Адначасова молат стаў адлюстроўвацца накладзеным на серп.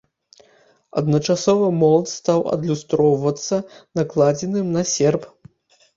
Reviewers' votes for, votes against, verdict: 2, 0, accepted